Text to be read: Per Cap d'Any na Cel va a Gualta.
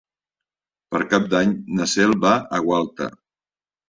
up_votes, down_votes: 3, 0